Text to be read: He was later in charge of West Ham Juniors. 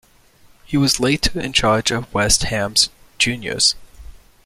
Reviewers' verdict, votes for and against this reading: rejected, 1, 2